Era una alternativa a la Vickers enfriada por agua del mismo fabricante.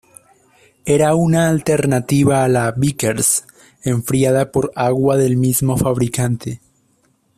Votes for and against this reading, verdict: 2, 0, accepted